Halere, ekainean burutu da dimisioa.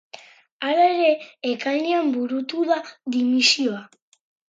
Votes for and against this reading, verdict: 6, 2, accepted